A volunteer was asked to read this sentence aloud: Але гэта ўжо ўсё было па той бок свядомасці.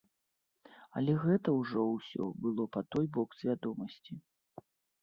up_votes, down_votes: 2, 0